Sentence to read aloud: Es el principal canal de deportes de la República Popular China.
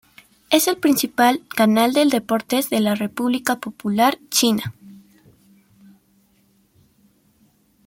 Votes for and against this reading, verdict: 1, 2, rejected